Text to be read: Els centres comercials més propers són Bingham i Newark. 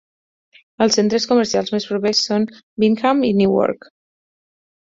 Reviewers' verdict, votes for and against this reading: accepted, 4, 0